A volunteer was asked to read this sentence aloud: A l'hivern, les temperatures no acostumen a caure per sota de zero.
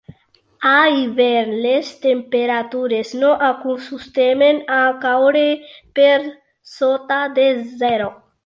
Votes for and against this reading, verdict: 0, 2, rejected